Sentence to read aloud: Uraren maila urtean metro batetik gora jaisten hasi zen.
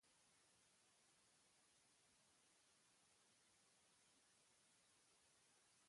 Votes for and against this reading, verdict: 0, 6, rejected